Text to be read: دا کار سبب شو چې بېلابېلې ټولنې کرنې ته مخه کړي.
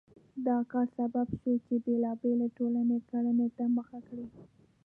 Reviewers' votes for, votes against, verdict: 1, 2, rejected